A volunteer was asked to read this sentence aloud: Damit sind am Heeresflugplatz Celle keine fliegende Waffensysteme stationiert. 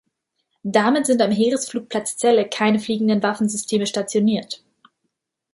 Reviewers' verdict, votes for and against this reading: accepted, 2, 0